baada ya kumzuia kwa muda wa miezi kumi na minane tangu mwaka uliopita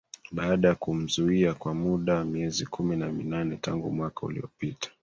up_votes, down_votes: 2, 1